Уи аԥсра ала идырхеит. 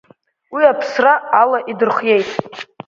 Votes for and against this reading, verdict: 0, 2, rejected